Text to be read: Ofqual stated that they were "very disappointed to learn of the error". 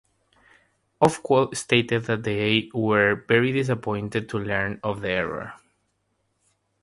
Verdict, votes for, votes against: accepted, 3, 0